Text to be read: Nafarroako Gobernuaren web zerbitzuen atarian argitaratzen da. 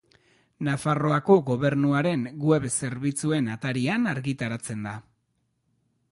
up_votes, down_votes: 2, 0